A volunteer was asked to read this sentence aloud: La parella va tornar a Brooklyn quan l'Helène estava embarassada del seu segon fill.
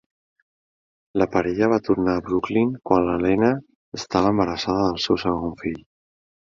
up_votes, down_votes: 2, 0